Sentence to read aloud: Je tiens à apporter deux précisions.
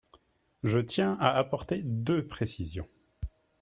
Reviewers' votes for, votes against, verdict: 4, 0, accepted